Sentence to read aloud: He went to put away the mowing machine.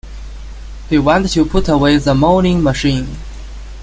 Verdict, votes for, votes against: rejected, 0, 2